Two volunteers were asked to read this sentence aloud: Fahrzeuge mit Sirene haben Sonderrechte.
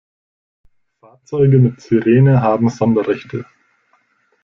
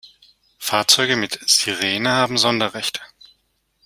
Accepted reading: second